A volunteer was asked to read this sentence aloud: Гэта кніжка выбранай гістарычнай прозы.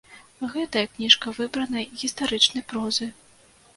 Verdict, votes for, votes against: rejected, 1, 2